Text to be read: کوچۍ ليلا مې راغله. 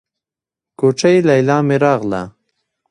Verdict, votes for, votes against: rejected, 1, 2